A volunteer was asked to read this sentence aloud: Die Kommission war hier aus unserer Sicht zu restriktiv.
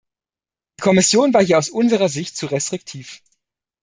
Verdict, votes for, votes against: rejected, 0, 2